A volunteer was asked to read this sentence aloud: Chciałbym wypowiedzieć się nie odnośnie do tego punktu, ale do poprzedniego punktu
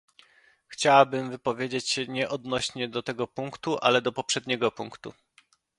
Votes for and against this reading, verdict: 0, 2, rejected